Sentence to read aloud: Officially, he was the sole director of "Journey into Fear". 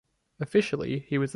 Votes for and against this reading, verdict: 0, 2, rejected